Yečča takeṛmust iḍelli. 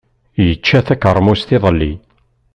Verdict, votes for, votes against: accepted, 2, 0